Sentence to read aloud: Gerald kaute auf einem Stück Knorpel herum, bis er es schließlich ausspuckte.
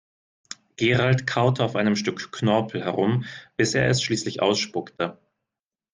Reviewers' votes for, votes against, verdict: 2, 0, accepted